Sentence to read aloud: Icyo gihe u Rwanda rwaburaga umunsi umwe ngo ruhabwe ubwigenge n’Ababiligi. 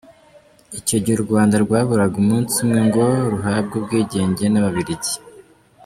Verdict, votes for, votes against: accepted, 2, 1